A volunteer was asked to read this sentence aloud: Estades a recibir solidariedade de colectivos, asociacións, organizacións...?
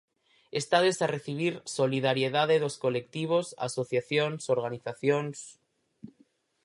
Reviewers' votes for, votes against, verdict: 0, 4, rejected